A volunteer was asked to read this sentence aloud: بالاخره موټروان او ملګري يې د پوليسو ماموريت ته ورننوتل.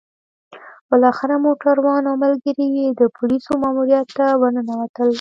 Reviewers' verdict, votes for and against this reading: rejected, 0, 2